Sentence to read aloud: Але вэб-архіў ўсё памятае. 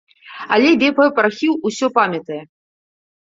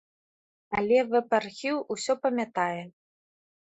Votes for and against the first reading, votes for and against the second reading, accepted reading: 1, 2, 3, 0, second